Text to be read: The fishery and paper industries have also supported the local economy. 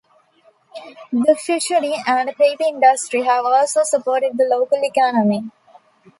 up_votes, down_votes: 1, 2